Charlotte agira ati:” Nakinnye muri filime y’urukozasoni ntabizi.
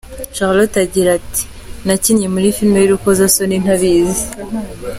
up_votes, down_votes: 2, 1